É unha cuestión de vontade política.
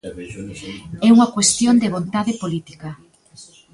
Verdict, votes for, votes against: accepted, 2, 0